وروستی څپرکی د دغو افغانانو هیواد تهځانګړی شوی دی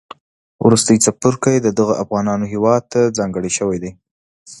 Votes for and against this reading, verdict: 2, 0, accepted